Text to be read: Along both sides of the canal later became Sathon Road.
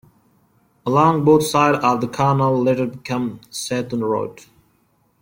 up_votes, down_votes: 0, 2